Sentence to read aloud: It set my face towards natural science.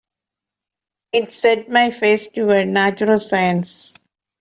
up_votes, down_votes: 2, 1